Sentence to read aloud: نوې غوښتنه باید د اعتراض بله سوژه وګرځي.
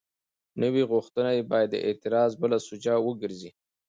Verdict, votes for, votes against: accepted, 2, 0